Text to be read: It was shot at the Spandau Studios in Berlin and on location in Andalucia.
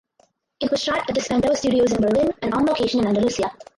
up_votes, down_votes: 2, 2